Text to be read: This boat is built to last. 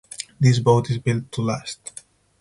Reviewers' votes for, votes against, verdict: 6, 0, accepted